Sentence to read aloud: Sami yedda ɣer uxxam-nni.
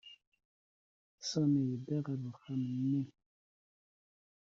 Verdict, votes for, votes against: rejected, 0, 2